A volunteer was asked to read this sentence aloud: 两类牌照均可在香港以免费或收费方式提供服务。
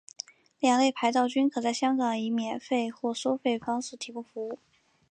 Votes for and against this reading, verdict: 0, 2, rejected